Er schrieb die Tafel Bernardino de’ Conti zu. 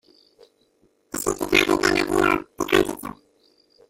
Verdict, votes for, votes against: rejected, 0, 2